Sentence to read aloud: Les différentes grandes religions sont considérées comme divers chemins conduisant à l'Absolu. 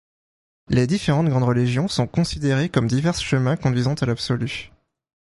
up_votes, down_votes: 0, 2